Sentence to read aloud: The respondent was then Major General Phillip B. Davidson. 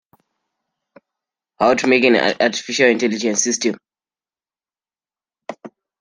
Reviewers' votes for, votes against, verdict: 1, 2, rejected